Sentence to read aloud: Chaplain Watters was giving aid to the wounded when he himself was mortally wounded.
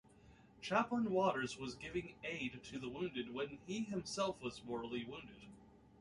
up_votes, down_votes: 2, 1